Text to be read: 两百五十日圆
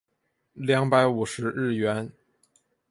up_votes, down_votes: 4, 0